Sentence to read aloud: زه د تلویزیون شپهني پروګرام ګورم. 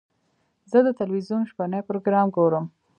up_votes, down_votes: 1, 2